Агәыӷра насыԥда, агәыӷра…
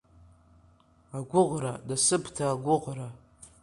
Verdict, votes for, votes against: accepted, 4, 1